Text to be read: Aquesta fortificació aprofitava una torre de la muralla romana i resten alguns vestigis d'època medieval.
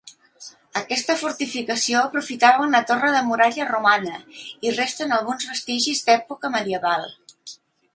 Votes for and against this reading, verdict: 0, 2, rejected